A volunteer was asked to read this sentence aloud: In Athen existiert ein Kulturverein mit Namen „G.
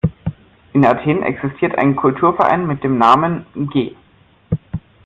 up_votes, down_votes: 0, 2